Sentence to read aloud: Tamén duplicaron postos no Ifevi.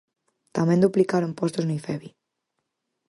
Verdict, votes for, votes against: accepted, 4, 0